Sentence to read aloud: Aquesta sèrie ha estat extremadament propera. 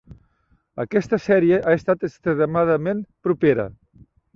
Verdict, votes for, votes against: rejected, 1, 3